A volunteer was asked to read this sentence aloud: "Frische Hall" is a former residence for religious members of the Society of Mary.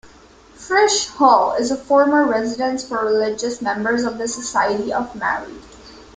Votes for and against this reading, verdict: 2, 0, accepted